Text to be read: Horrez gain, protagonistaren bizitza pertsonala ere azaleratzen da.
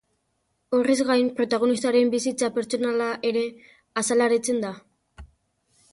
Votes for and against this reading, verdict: 1, 2, rejected